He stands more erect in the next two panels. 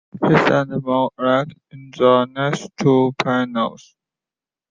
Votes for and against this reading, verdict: 0, 2, rejected